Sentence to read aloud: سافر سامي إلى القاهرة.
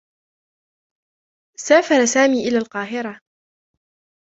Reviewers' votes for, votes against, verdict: 0, 2, rejected